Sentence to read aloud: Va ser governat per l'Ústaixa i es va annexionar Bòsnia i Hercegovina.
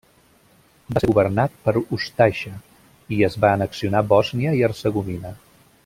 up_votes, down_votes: 0, 2